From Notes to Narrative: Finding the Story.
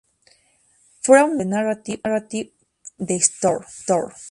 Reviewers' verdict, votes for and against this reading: rejected, 0, 2